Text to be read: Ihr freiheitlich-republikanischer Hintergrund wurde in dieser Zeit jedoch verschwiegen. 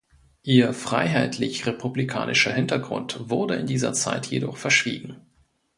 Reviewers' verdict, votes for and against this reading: accepted, 2, 0